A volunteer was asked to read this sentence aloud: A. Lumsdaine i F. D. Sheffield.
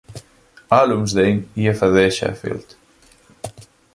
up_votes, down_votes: 1, 2